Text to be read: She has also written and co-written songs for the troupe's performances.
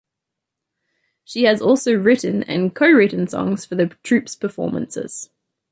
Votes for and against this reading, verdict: 2, 0, accepted